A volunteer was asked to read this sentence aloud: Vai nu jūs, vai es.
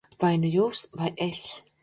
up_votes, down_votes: 2, 0